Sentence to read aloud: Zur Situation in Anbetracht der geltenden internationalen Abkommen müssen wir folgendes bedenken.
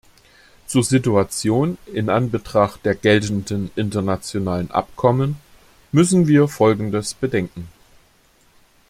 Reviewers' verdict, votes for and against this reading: accepted, 2, 0